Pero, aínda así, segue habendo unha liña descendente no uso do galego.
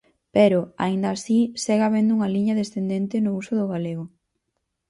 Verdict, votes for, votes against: accepted, 4, 0